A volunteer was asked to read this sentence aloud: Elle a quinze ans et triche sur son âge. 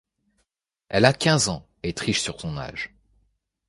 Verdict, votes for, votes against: accepted, 2, 0